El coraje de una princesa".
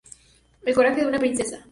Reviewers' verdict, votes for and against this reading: accepted, 2, 0